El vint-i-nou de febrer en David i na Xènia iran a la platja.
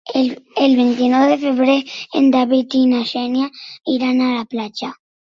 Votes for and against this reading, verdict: 0, 2, rejected